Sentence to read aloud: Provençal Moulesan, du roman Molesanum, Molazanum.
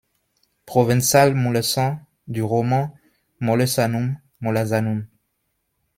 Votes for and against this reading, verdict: 2, 0, accepted